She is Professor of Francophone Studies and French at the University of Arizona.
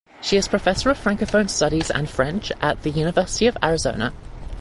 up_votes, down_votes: 2, 0